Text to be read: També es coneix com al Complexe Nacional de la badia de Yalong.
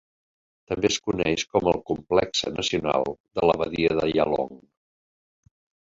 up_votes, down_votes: 0, 2